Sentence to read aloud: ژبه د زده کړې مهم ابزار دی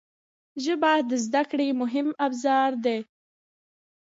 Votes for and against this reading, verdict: 2, 0, accepted